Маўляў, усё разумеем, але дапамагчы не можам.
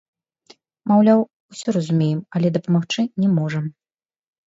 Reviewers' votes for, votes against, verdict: 1, 2, rejected